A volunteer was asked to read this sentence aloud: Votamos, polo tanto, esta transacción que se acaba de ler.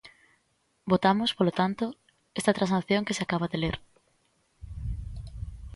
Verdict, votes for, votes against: accepted, 2, 0